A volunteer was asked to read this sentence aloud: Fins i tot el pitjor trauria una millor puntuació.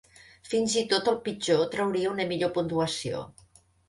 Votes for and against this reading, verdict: 2, 0, accepted